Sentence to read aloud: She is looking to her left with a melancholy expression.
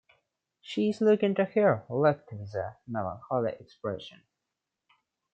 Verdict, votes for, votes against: accepted, 2, 1